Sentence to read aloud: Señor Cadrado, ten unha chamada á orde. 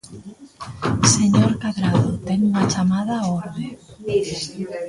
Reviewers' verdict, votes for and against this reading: accepted, 2, 0